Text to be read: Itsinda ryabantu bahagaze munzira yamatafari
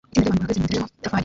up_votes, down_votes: 0, 2